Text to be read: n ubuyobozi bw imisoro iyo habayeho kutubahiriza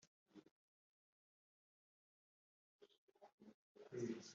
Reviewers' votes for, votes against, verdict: 1, 2, rejected